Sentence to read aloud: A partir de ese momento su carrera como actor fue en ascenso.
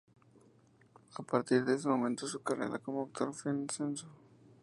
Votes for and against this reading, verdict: 0, 4, rejected